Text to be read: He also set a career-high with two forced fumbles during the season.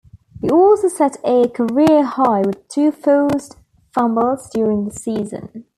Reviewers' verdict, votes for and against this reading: accepted, 2, 0